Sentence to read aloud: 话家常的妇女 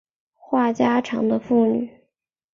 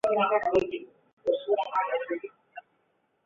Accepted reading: first